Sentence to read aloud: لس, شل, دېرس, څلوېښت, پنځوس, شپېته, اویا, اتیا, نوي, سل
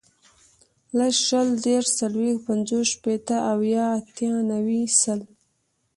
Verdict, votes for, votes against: accepted, 2, 0